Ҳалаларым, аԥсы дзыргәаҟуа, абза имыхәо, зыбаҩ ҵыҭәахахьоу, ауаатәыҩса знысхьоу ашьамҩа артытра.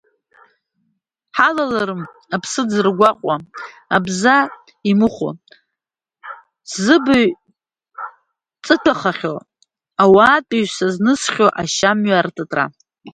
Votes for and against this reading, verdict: 0, 2, rejected